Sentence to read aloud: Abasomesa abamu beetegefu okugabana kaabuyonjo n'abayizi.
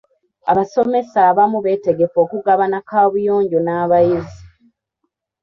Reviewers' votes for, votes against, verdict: 3, 0, accepted